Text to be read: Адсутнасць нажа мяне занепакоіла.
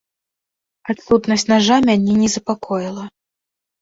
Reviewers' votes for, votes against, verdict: 0, 2, rejected